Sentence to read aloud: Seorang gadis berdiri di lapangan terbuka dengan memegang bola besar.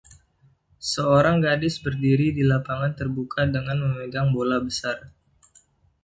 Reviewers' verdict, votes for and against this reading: accepted, 2, 0